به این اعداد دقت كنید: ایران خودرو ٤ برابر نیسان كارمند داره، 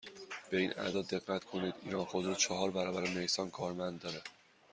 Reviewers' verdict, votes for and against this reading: rejected, 0, 2